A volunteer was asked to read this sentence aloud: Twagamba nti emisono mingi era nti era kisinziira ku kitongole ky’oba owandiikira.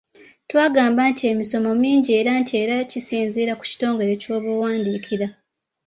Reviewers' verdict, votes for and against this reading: accepted, 2, 1